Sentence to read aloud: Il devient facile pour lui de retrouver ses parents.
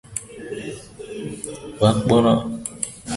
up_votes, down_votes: 0, 2